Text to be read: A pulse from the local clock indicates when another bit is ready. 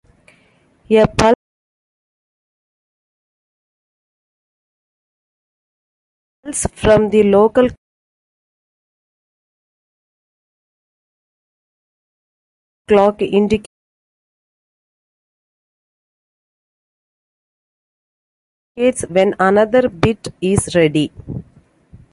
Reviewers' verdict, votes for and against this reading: rejected, 0, 2